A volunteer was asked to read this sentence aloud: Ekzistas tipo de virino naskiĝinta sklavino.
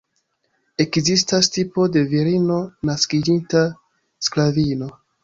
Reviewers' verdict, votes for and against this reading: accepted, 2, 0